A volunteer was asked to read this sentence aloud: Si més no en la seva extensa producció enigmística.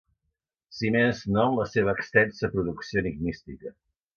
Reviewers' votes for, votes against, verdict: 2, 0, accepted